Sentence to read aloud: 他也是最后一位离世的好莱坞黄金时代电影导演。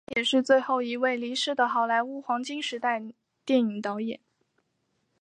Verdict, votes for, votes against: accepted, 2, 1